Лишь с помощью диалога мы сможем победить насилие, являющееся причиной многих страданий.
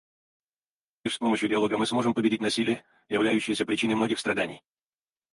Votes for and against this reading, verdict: 2, 4, rejected